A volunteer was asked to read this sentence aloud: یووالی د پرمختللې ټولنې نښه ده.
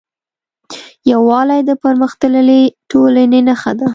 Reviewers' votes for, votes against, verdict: 2, 0, accepted